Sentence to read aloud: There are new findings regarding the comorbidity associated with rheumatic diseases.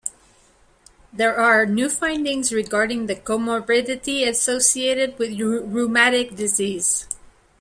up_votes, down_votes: 0, 2